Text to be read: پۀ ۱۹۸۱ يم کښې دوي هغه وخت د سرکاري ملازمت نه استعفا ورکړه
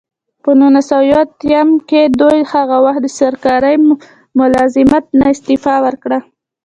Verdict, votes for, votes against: rejected, 0, 2